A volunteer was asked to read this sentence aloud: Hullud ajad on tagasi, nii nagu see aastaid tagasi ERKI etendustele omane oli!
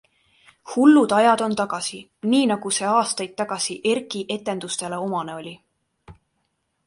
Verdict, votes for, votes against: accepted, 2, 0